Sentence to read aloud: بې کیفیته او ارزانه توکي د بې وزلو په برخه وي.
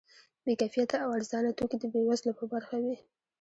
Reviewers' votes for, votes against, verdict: 2, 0, accepted